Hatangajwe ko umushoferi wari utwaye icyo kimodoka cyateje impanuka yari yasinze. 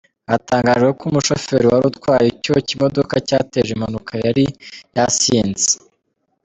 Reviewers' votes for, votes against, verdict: 2, 0, accepted